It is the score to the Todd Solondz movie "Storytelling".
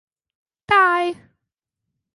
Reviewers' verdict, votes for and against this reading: rejected, 0, 2